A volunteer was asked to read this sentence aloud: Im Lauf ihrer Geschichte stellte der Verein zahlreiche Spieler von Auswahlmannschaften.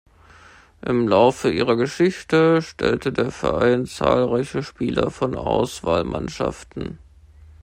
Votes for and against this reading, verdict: 0, 2, rejected